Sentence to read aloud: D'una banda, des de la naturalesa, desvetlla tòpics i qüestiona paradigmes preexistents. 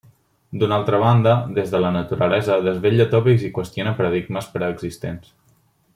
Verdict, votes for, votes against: rejected, 0, 2